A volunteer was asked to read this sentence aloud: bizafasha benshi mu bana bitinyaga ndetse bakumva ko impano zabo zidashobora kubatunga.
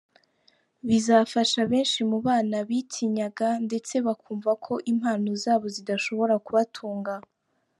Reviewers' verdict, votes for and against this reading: accepted, 2, 0